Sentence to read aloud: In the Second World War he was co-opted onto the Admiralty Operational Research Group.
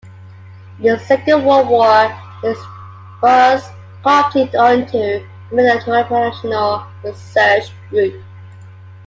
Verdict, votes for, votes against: rejected, 0, 2